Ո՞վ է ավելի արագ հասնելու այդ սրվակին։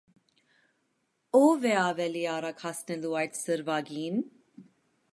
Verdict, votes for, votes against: accepted, 2, 0